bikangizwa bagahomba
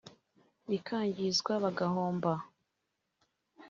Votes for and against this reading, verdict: 2, 0, accepted